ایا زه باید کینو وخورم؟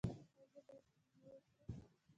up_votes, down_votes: 1, 2